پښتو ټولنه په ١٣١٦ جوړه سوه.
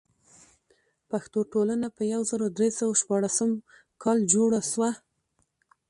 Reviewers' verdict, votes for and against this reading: rejected, 0, 2